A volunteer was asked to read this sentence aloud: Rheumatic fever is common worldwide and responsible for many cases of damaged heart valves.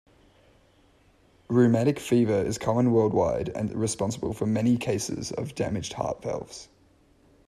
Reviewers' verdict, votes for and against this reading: rejected, 1, 2